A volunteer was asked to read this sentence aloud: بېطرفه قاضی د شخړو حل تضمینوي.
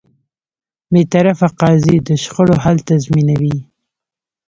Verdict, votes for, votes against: accepted, 2, 0